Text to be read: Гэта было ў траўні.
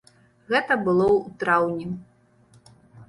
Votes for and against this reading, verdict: 2, 1, accepted